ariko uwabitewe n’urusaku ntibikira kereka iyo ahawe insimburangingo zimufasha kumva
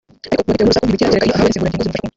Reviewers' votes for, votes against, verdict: 0, 2, rejected